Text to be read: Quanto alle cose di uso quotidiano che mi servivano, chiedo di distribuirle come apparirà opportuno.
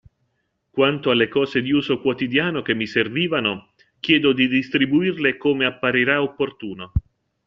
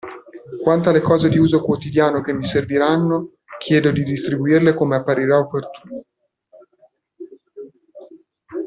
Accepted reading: first